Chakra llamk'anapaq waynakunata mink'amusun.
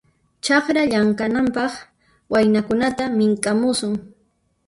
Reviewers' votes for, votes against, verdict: 2, 1, accepted